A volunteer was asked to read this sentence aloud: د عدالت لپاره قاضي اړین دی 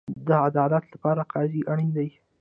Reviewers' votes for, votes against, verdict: 2, 1, accepted